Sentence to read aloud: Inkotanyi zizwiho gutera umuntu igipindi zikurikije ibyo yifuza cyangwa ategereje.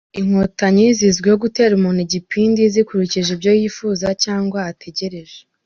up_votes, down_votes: 2, 0